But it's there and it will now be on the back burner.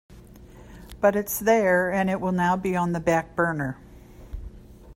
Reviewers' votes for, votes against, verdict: 2, 0, accepted